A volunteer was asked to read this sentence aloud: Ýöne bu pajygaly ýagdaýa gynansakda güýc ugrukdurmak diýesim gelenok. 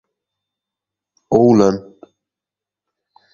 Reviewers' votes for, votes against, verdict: 0, 2, rejected